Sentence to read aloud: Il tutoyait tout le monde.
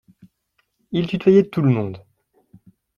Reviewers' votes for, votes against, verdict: 2, 0, accepted